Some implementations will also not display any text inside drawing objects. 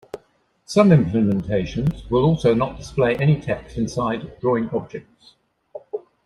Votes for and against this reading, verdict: 2, 1, accepted